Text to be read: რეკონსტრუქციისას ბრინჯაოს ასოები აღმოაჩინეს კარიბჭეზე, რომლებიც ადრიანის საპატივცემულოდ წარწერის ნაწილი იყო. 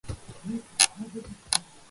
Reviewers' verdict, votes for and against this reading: rejected, 0, 2